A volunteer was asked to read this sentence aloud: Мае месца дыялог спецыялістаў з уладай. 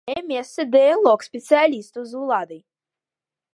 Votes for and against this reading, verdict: 1, 2, rejected